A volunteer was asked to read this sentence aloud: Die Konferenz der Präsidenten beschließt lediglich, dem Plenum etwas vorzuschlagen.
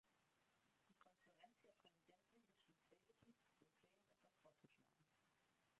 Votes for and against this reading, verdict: 0, 2, rejected